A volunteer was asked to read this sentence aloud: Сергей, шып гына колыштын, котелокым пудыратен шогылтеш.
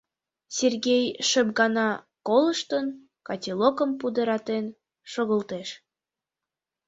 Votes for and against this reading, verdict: 2, 4, rejected